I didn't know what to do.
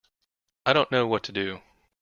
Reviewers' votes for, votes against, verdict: 0, 2, rejected